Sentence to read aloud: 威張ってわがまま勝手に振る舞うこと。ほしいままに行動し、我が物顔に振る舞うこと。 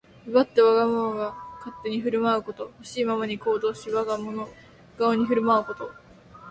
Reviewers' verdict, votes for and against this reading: accepted, 5, 0